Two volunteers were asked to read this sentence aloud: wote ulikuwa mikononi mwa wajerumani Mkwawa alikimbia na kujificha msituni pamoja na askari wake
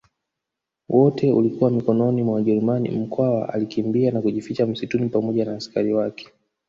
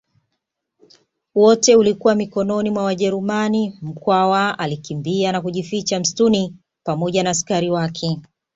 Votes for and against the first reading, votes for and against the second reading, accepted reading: 1, 2, 2, 0, second